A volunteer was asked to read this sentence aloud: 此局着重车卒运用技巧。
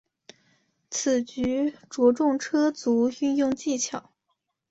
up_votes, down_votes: 4, 0